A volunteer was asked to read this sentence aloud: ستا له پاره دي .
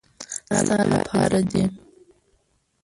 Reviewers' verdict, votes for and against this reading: rejected, 1, 2